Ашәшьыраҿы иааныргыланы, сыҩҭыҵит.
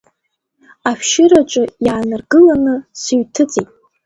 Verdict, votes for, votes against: accepted, 2, 0